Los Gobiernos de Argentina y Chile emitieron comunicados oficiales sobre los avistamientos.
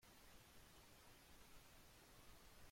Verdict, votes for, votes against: rejected, 1, 2